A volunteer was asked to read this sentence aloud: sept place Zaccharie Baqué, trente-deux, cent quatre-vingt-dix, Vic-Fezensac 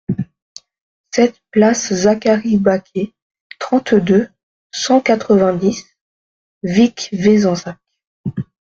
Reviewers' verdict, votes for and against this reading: rejected, 1, 2